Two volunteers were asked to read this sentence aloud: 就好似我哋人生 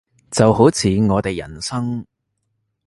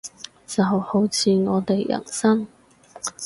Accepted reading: first